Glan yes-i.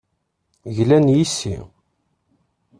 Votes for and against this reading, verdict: 2, 0, accepted